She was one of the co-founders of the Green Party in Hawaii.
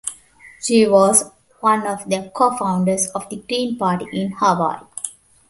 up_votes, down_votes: 1, 2